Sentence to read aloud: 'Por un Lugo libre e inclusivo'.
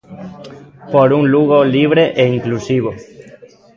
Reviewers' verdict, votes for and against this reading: accepted, 2, 0